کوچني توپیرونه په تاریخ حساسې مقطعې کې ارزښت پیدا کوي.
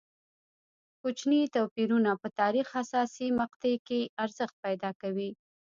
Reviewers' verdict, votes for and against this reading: accepted, 2, 0